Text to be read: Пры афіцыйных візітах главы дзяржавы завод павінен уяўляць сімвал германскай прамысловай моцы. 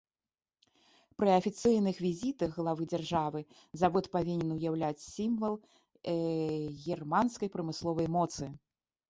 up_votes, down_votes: 0, 2